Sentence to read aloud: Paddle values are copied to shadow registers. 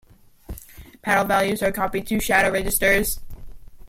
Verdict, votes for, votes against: rejected, 0, 2